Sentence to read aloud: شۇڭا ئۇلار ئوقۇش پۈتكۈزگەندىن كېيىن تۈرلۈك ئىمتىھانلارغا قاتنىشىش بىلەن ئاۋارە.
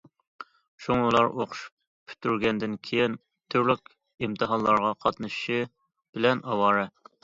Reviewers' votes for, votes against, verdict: 0, 2, rejected